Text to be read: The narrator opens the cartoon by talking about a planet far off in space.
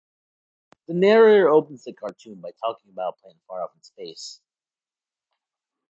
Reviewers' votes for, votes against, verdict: 0, 2, rejected